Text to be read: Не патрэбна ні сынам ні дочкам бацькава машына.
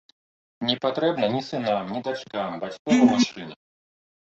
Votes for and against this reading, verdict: 0, 2, rejected